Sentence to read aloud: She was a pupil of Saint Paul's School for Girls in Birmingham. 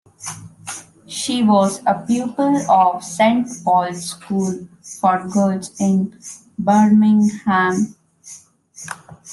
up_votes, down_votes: 0, 2